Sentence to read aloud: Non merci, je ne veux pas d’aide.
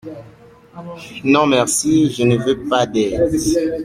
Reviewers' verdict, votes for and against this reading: accepted, 2, 0